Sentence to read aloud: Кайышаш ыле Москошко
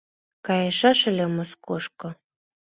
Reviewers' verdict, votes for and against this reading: accepted, 2, 0